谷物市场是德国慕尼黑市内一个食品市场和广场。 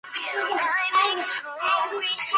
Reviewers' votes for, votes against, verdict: 0, 7, rejected